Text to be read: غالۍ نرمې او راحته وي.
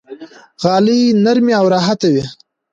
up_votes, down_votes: 2, 0